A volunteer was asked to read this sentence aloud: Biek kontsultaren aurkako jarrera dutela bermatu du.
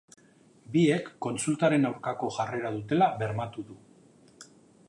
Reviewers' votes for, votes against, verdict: 2, 0, accepted